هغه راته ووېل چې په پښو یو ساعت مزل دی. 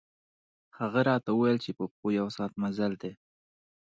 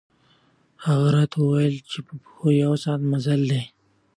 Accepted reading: second